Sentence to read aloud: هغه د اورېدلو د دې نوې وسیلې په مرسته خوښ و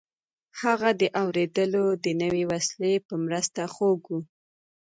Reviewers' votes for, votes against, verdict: 0, 2, rejected